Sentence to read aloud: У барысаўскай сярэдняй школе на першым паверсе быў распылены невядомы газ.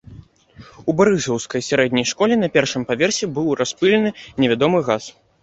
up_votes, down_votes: 2, 0